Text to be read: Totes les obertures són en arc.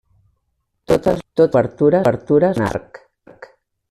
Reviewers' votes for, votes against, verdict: 0, 2, rejected